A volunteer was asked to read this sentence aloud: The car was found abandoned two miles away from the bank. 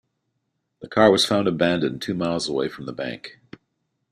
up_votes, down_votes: 3, 0